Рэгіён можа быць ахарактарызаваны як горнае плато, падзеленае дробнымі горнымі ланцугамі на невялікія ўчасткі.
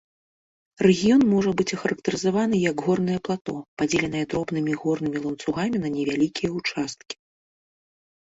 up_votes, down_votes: 2, 0